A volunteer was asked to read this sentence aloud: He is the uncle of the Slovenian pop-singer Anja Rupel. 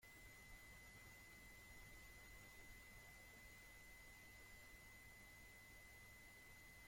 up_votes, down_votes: 0, 2